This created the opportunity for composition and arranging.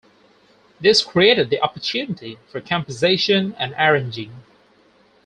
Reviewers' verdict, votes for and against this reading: rejected, 2, 4